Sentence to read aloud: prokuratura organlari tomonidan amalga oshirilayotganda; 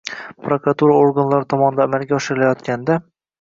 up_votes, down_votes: 1, 2